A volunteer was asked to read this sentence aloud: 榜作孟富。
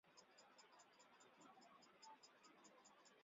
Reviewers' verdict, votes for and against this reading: rejected, 1, 2